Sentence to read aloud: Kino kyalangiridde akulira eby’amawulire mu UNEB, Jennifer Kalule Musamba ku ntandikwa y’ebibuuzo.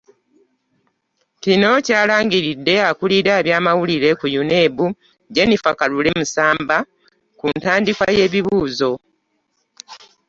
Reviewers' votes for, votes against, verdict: 0, 2, rejected